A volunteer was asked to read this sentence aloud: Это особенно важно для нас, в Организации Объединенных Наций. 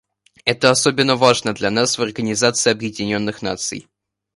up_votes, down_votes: 2, 0